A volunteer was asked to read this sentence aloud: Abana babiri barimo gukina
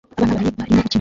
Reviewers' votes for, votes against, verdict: 0, 2, rejected